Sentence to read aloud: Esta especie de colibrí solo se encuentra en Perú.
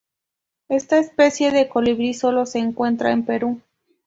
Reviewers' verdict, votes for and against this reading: accepted, 2, 0